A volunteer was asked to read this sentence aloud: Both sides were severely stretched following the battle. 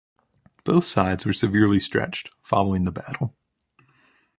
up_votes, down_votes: 2, 0